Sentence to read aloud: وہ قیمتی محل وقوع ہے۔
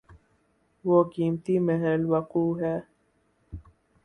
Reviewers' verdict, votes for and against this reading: rejected, 4, 4